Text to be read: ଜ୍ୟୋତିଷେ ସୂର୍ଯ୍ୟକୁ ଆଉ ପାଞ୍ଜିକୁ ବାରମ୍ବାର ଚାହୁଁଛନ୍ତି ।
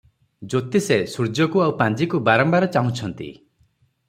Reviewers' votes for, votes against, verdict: 3, 0, accepted